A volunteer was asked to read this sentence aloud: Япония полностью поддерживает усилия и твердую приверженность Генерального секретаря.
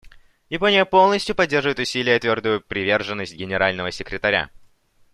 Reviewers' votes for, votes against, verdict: 2, 0, accepted